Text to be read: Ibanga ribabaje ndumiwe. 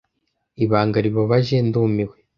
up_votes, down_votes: 2, 0